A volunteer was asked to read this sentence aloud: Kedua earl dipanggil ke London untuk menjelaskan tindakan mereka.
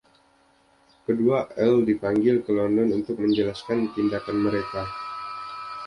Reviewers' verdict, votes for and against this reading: accepted, 2, 0